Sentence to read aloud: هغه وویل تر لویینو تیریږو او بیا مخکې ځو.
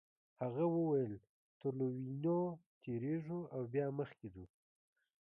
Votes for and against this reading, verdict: 2, 0, accepted